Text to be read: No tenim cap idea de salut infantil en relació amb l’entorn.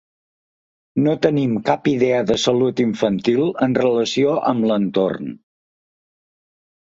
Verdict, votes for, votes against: accepted, 3, 0